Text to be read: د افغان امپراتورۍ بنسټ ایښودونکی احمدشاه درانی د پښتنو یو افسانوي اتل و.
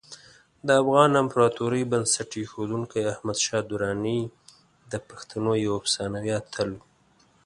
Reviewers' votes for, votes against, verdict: 2, 0, accepted